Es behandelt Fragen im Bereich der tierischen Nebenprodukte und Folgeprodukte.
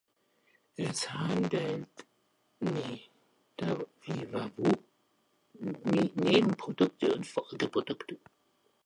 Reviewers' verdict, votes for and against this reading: rejected, 0, 2